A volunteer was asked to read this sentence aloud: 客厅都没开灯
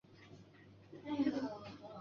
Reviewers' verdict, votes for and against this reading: rejected, 0, 2